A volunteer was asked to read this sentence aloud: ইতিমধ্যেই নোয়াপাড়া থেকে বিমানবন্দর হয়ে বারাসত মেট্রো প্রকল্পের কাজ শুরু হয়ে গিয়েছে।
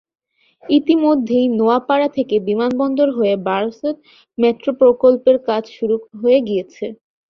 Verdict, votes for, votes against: accepted, 7, 1